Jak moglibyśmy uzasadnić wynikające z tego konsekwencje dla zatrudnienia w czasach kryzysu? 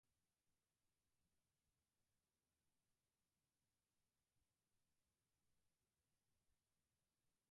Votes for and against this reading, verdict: 0, 4, rejected